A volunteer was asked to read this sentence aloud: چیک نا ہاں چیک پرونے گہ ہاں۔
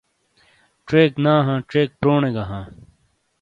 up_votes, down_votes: 2, 0